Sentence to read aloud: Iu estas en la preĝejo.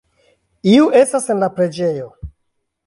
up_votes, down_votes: 2, 1